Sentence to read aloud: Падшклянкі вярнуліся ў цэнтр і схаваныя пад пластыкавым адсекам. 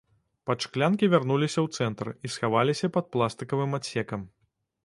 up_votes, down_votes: 1, 2